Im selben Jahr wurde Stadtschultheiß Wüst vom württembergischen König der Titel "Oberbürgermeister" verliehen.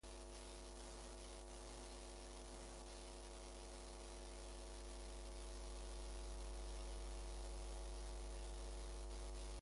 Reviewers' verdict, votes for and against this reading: rejected, 0, 2